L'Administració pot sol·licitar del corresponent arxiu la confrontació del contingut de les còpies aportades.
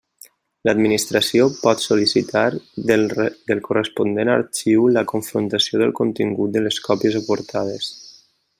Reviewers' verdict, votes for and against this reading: rejected, 0, 2